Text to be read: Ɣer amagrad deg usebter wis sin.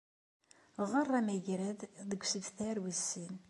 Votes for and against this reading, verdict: 2, 0, accepted